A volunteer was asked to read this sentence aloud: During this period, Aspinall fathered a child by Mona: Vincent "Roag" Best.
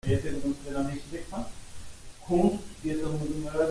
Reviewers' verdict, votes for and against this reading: rejected, 0, 2